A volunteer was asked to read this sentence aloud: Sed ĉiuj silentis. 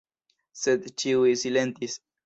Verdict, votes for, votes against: accepted, 2, 0